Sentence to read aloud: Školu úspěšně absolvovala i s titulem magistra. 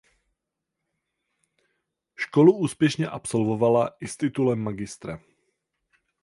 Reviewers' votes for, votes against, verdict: 4, 0, accepted